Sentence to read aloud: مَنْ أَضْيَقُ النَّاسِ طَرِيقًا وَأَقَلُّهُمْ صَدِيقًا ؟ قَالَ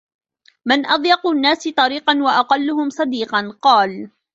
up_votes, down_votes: 0, 2